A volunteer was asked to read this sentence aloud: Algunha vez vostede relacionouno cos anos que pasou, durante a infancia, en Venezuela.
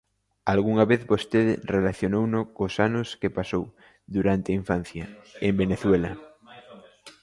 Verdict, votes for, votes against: rejected, 1, 2